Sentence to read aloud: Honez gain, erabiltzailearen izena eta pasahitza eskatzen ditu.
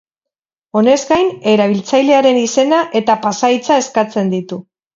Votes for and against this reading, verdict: 4, 0, accepted